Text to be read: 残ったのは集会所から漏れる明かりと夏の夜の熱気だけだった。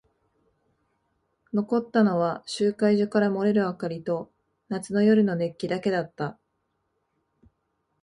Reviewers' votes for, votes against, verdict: 3, 0, accepted